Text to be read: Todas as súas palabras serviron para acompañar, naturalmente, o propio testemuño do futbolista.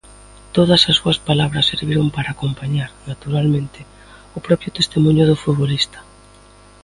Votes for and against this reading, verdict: 2, 0, accepted